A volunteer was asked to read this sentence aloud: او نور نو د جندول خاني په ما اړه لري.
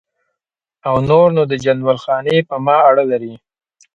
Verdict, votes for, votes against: accepted, 2, 0